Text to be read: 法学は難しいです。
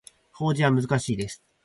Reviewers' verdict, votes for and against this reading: rejected, 0, 4